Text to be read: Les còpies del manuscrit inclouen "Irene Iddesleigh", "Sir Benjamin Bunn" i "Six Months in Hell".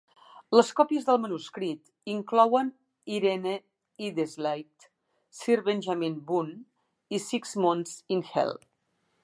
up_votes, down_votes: 2, 1